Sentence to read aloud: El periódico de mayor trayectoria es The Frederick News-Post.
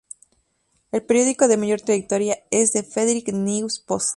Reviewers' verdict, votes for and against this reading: accepted, 2, 0